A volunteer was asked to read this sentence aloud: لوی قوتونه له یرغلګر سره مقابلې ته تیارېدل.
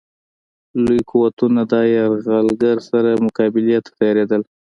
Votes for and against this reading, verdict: 2, 0, accepted